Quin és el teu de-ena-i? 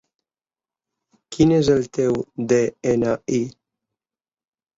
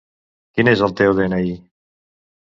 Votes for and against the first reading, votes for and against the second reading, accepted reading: 3, 0, 0, 2, first